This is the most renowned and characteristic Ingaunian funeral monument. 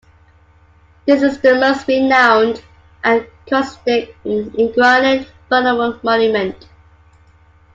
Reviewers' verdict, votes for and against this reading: rejected, 0, 2